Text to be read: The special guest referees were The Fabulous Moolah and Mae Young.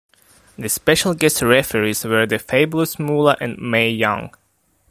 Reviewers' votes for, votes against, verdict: 0, 2, rejected